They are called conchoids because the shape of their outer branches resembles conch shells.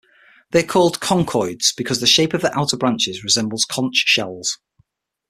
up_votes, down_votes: 6, 0